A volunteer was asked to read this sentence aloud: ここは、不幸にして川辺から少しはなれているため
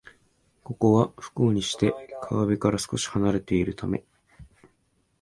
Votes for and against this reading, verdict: 2, 0, accepted